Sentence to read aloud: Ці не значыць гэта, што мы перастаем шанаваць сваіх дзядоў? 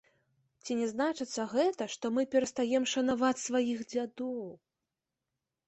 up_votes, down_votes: 1, 2